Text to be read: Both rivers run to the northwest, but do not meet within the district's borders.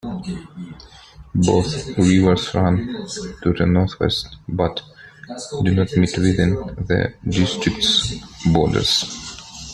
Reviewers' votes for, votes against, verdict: 0, 2, rejected